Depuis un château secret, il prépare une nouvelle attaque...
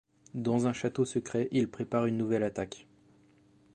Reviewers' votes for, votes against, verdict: 1, 2, rejected